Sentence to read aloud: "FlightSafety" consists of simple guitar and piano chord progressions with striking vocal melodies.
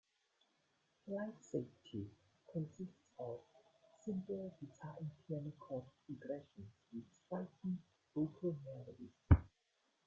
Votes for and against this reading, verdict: 0, 2, rejected